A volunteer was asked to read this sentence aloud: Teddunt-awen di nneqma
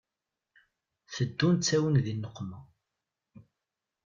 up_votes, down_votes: 2, 0